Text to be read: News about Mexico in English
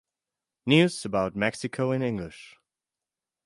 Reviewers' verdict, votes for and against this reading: accepted, 4, 0